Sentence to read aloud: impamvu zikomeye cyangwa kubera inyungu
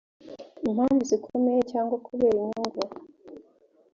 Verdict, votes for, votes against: accepted, 2, 0